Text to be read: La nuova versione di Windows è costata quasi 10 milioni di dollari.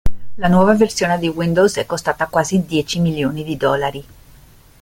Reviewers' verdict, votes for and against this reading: rejected, 0, 2